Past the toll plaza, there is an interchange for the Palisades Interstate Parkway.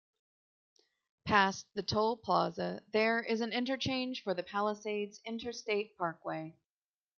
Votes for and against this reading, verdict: 0, 2, rejected